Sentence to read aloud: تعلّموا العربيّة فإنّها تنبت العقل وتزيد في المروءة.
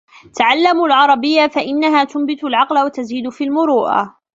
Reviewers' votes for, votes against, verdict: 1, 2, rejected